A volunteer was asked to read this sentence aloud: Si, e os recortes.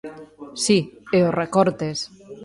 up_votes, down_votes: 1, 2